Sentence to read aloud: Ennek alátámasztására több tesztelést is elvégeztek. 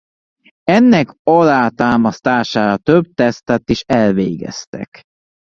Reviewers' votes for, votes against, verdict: 0, 2, rejected